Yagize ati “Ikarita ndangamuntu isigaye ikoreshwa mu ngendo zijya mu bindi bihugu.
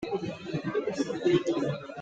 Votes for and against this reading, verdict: 0, 2, rejected